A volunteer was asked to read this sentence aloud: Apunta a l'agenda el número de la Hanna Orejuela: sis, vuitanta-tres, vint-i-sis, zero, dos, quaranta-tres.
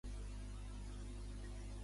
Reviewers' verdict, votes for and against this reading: rejected, 0, 3